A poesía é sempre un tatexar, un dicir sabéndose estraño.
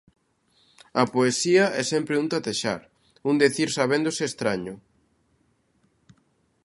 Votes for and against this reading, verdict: 1, 2, rejected